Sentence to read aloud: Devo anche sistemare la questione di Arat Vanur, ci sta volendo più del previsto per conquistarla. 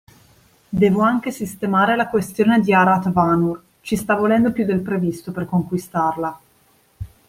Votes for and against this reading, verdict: 2, 0, accepted